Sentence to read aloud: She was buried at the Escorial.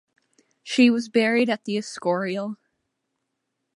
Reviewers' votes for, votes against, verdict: 2, 0, accepted